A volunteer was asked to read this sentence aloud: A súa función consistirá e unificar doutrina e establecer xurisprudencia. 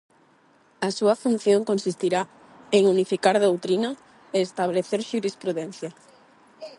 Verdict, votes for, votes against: rejected, 0, 4